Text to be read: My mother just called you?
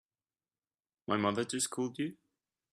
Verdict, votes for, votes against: accepted, 4, 0